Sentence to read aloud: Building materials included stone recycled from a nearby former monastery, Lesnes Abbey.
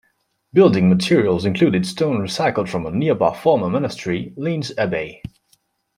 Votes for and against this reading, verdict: 0, 2, rejected